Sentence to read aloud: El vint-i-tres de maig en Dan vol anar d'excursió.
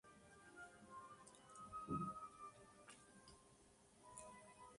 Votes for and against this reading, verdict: 0, 2, rejected